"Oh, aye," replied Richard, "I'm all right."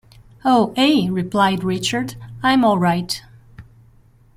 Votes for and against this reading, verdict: 0, 2, rejected